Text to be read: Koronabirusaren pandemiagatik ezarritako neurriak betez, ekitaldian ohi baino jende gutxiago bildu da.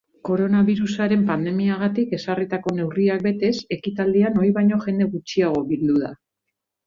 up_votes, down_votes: 2, 0